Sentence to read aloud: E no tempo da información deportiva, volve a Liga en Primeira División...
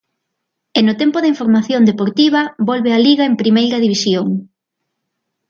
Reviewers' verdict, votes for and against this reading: accepted, 2, 0